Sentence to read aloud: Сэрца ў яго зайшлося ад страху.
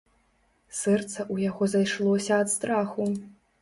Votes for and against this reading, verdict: 2, 1, accepted